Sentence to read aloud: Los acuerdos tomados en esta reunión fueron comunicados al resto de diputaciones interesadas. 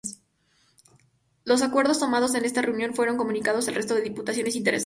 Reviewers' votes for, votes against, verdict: 0, 2, rejected